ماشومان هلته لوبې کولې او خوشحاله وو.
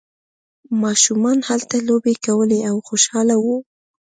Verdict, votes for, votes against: accepted, 2, 0